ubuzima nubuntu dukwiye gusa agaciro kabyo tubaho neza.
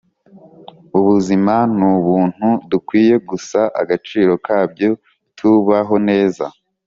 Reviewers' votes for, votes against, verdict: 2, 0, accepted